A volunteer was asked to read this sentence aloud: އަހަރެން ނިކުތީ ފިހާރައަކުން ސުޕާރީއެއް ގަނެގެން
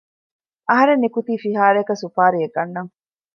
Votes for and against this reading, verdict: 0, 2, rejected